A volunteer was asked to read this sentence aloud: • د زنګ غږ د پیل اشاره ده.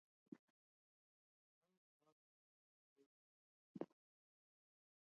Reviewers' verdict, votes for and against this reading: rejected, 0, 2